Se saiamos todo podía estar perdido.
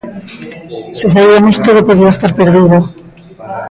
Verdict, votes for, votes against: rejected, 0, 2